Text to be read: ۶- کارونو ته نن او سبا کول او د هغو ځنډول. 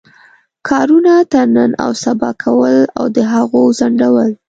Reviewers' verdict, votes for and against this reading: rejected, 0, 2